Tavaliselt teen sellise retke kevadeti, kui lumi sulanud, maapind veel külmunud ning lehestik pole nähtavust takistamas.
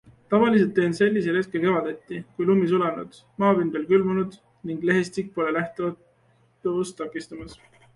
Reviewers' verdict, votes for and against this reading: rejected, 0, 2